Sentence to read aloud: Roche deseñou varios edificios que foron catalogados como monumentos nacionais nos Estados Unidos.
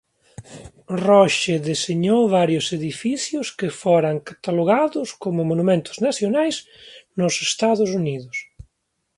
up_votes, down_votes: 2, 0